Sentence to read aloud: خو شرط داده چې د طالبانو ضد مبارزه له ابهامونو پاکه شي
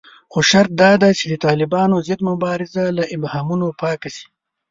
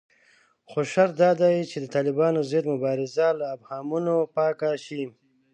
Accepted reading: first